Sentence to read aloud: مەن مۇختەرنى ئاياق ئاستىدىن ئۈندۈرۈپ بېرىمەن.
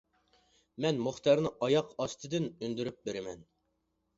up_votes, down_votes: 2, 0